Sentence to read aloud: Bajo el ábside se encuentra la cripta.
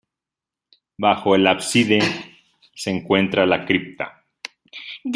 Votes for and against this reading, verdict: 0, 2, rejected